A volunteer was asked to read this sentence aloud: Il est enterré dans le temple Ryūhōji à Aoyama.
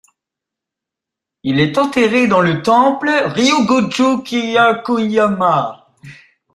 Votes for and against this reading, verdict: 0, 2, rejected